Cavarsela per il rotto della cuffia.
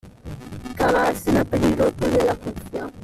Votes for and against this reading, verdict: 0, 2, rejected